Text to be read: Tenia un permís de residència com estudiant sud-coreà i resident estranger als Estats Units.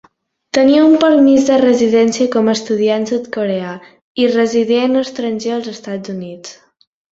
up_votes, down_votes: 2, 0